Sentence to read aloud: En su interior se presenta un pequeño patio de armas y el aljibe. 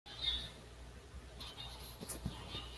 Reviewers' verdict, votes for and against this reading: rejected, 1, 2